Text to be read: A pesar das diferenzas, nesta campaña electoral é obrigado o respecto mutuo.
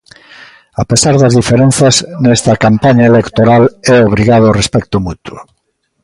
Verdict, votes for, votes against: accepted, 2, 0